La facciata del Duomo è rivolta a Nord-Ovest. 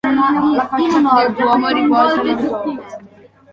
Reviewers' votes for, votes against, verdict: 0, 2, rejected